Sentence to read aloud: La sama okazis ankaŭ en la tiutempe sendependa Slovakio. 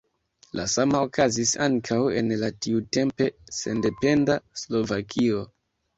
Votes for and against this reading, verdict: 2, 0, accepted